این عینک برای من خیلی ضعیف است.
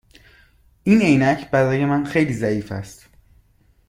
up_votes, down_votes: 2, 0